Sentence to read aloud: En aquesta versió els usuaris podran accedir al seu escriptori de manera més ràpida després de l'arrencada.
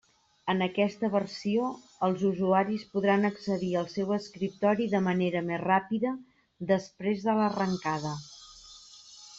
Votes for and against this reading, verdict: 2, 0, accepted